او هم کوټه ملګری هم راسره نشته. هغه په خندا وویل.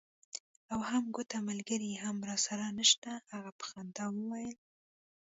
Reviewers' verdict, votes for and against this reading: accepted, 2, 1